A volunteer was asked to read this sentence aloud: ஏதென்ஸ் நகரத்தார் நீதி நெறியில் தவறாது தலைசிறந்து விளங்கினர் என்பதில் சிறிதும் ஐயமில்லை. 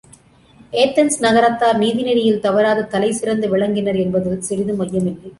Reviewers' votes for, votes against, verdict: 2, 0, accepted